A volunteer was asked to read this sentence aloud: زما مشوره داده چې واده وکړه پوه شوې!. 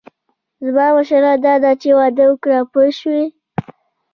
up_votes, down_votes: 2, 1